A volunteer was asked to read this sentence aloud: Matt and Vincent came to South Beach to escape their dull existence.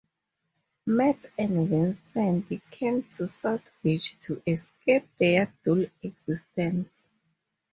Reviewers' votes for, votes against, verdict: 2, 0, accepted